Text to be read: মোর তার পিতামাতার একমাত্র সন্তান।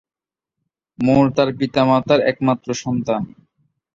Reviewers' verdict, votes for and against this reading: accepted, 2, 0